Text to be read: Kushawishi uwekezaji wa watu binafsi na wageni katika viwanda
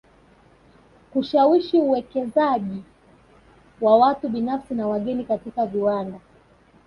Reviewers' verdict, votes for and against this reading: accepted, 2, 0